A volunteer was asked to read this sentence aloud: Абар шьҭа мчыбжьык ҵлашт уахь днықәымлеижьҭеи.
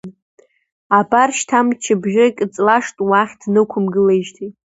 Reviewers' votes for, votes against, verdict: 2, 1, accepted